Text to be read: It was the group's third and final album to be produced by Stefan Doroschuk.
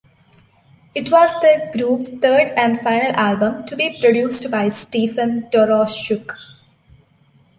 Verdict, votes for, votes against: accepted, 2, 1